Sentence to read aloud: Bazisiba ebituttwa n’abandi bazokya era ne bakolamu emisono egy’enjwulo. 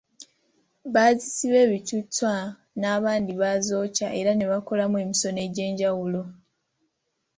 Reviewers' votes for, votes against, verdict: 2, 0, accepted